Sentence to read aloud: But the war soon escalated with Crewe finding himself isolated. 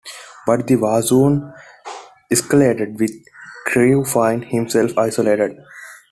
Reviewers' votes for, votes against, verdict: 2, 1, accepted